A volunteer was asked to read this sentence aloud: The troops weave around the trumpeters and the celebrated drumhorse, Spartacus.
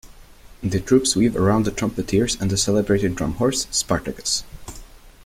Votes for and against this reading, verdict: 1, 2, rejected